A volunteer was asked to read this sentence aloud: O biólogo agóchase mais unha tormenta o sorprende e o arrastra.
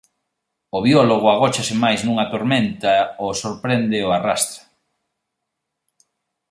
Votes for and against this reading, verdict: 0, 2, rejected